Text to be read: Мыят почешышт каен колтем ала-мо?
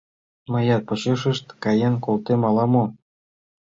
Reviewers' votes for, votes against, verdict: 3, 0, accepted